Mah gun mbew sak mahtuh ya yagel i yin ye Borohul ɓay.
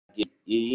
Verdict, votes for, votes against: rejected, 0, 2